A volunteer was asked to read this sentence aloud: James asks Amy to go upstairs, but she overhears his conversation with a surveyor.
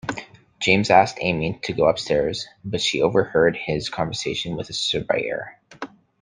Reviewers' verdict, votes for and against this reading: rejected, 1, 2